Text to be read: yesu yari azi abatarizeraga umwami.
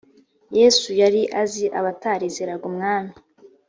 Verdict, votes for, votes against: accepted, 2, 0